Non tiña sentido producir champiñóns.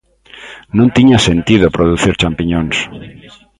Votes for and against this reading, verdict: 3, 2, accepted